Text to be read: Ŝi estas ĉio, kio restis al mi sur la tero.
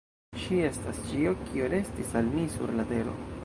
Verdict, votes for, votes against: rejected, 0, 2